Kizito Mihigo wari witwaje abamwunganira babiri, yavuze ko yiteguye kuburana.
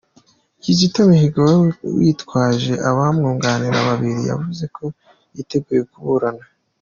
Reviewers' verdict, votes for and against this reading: accepted, 2, 0